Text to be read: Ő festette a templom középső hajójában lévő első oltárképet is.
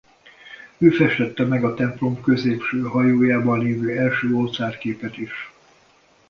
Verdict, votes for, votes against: rejected, 0, 2